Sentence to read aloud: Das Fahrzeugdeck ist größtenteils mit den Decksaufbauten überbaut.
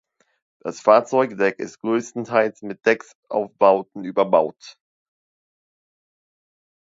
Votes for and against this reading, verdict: 0, 2, rejected